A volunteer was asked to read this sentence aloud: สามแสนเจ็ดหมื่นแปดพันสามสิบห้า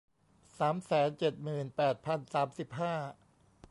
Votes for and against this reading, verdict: 2, 1, accepted